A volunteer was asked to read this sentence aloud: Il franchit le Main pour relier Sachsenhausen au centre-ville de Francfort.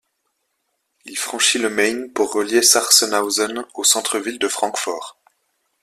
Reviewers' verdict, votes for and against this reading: rejected, 0, 2